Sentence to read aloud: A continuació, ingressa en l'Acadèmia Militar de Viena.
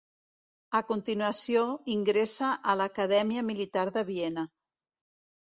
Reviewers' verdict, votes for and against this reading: rejected, 1, 2